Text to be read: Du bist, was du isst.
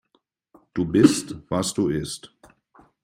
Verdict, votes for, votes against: accepted, 2, 0